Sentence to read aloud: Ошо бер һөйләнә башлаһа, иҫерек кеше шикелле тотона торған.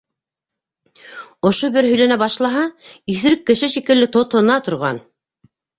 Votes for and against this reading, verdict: 2, 0, accepted